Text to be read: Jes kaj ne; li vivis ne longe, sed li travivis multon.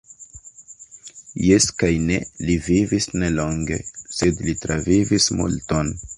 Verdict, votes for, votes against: accepted, 2, 0